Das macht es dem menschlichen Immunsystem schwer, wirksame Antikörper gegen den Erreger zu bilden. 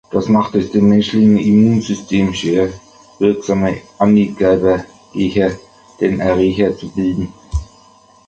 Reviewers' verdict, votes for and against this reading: rejected, 0, 2